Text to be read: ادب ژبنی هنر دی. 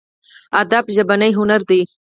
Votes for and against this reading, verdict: 4, 0, accepted